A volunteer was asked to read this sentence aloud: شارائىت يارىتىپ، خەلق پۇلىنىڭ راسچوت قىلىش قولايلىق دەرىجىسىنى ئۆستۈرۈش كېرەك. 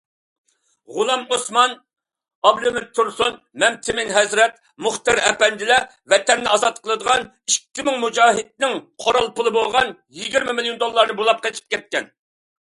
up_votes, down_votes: 0, 2